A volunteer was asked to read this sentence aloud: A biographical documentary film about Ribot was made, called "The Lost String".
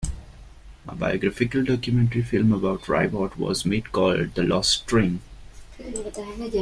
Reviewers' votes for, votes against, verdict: 2, 0, accepted